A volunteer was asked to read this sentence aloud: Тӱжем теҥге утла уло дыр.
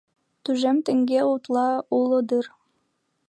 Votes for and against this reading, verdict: 0, 2, rejected